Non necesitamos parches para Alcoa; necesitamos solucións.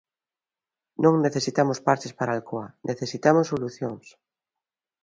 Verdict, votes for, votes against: accepted, 3, 0